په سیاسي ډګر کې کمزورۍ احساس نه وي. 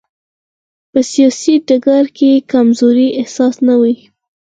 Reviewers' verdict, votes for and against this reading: accepted, 4, 2